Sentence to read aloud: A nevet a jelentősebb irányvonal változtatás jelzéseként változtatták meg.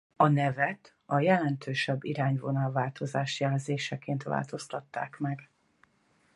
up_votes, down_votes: 0, 4